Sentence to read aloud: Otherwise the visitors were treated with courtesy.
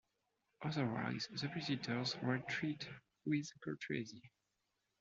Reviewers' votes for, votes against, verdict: 1, 2, rejected